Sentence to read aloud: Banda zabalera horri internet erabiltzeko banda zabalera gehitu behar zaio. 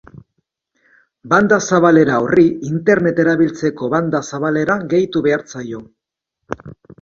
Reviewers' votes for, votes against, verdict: 2, 0, accepted